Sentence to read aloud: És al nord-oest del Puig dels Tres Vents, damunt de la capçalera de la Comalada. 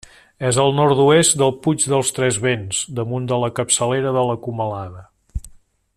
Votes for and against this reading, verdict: 3, 0, accepted